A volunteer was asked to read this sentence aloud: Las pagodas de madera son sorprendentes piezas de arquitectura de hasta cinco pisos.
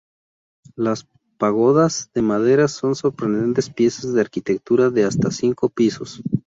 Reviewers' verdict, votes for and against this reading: accepted, 2, 0